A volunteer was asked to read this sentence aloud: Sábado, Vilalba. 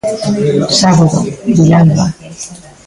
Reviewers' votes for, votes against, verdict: 0, 2, rejected